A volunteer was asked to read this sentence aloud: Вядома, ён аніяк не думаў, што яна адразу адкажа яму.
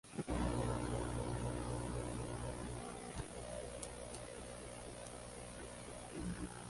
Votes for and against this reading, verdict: 0, 2, rejected